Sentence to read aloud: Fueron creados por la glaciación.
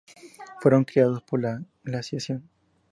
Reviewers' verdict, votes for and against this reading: accepted, 2, 0